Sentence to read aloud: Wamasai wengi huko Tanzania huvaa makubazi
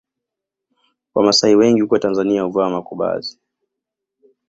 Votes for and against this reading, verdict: 2, 0, accepted